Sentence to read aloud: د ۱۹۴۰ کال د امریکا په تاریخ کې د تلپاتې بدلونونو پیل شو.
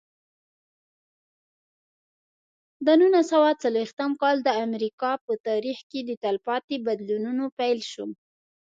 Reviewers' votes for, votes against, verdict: 0, 2, rejected